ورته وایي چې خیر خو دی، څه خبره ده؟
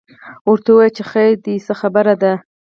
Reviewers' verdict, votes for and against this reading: rejected, 2, 4